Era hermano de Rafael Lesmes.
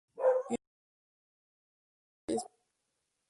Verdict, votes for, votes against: rejected, 0, 2